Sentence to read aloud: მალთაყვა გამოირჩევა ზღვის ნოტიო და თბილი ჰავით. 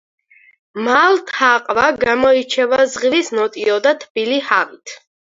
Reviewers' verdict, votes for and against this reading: rejected, 2, 4